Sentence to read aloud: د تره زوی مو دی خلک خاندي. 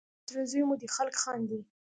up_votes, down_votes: 1, 2